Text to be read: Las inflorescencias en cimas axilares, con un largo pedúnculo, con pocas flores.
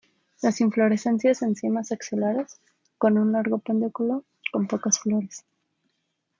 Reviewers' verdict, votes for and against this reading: rejected, 0, 2